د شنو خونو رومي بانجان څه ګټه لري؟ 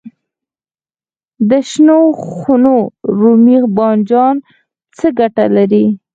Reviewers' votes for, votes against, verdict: 0, 4, rejected